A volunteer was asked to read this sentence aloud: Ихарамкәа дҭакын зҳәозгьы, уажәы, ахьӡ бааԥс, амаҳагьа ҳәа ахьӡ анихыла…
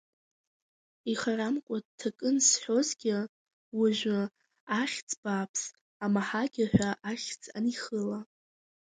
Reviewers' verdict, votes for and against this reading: accepted, 2, 0